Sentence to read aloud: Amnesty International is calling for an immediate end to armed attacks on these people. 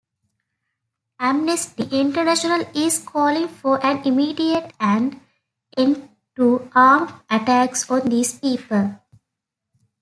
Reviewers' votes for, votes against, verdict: 2, 1, accepted